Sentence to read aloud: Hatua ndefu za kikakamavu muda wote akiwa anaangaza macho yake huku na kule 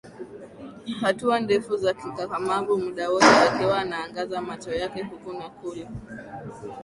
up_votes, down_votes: 18, 0